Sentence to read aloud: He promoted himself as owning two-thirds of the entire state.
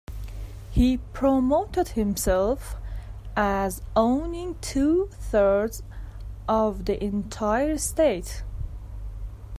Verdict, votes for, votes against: accepted, 2, 0